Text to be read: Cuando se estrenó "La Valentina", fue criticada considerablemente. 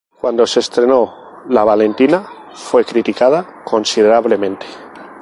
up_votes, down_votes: 2, 0